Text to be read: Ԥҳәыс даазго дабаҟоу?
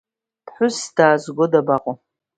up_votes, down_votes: 2, 0